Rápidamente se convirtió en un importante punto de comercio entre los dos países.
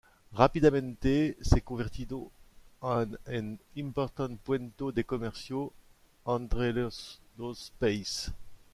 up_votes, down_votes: 0, 2